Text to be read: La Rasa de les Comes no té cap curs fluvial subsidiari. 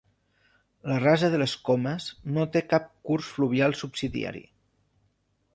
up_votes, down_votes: 2, 0